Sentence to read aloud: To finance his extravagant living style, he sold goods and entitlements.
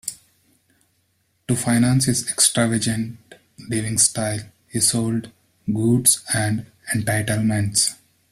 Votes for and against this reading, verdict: 1, 3, rejected